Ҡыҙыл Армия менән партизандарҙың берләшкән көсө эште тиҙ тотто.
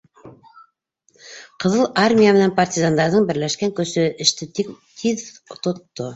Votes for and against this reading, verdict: 0, 2, rejected